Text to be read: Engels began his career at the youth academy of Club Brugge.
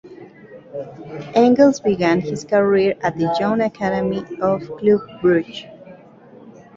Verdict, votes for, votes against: rejected, 0, 2